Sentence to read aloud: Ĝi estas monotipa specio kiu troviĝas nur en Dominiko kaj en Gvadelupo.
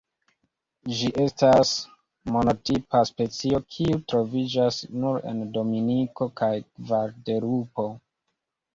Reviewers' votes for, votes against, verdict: 1, 2, rejected